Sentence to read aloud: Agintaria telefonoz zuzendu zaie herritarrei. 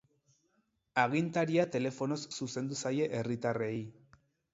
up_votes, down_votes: 4, 0